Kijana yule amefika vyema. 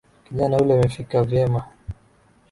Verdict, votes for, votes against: accepted, 2, 1